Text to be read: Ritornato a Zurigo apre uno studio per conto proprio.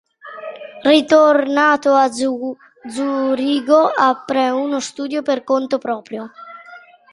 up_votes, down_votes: 0, 2